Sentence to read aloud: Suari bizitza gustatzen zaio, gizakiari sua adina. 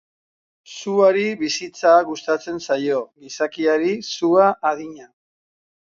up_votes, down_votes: 6, 0